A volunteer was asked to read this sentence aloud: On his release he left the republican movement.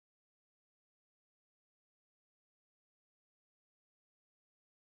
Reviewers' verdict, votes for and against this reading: rejected, 0, 2